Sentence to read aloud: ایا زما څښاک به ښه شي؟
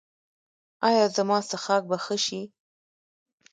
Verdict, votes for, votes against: rejected, 1, 2